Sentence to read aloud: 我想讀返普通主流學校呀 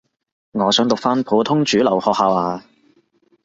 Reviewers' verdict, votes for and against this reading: rejected, 2, 2